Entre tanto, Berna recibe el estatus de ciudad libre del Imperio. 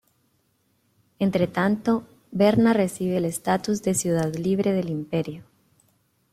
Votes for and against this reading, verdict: 2, 0, accepted